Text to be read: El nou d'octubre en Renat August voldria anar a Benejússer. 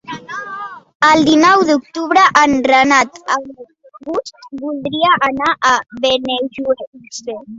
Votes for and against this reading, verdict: 0, 2, rejected